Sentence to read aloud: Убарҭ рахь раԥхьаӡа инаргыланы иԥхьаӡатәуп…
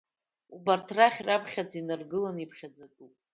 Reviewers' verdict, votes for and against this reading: accepted, 2, 0